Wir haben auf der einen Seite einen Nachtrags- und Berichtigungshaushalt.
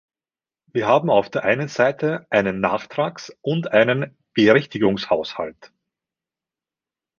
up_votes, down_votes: 1, 2